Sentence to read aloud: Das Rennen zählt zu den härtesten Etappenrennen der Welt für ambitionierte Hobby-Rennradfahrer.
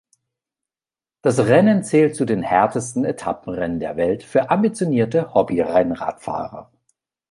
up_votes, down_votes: 2, 0